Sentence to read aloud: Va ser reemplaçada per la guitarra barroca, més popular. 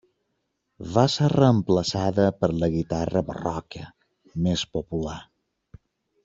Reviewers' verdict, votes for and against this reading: rejected, 1, 2